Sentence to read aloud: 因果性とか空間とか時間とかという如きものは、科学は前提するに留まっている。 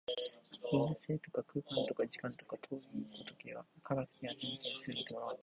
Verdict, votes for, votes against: rejected, 1, 2